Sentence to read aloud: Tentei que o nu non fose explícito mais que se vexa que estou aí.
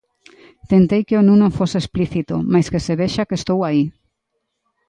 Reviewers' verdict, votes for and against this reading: accepted, 2, 0